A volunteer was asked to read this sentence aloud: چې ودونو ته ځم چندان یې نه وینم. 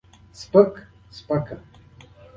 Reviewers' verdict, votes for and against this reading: accepted, 2, 0